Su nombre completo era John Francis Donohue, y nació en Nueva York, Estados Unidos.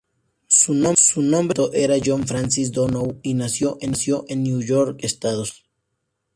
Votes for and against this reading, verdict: 2, 0, accepted